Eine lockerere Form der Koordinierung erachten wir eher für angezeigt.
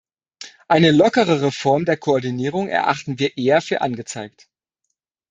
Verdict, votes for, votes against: accepted, 2, 0